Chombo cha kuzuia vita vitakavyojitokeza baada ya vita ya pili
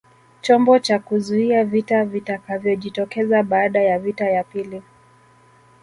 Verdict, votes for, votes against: accepted, 2, 1